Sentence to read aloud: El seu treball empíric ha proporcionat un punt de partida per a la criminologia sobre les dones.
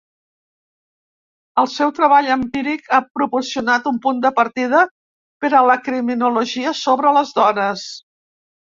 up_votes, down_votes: 2, 0